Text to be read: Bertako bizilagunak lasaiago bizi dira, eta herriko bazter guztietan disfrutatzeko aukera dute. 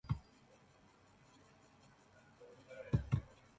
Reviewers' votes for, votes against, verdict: 2, 10, rejected